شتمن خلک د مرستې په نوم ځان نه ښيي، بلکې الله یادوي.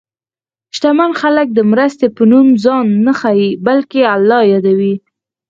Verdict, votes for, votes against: rejected, 2, 6